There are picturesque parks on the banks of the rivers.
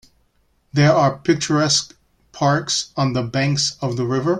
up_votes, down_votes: 1, 2